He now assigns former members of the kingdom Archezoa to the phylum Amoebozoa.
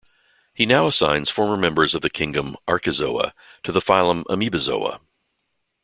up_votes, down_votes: 2, 0